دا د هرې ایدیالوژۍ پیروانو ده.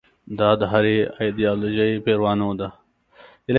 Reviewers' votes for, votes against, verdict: 0, 2, rejected